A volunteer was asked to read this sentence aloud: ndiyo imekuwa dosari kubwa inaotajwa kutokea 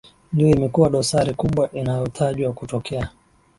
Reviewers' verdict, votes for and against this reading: rejected, 0, 2